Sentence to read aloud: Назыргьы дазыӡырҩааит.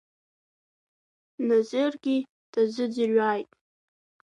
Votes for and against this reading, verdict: 3, 2, accepted